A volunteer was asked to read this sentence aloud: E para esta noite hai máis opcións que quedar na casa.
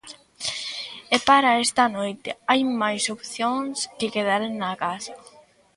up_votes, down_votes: 2, 0